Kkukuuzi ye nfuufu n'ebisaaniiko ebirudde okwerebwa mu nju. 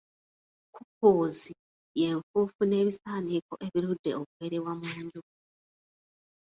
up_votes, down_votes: 0, 2